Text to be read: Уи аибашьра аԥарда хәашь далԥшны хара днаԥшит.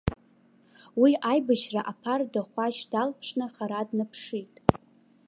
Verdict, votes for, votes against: rejected, 1, 2